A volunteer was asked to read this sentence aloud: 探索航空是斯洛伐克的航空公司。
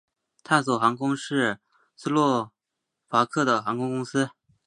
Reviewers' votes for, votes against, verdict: 2, 0, accepted